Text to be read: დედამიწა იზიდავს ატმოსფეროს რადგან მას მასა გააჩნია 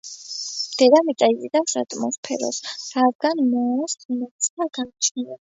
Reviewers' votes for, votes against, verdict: 1, 2, rejected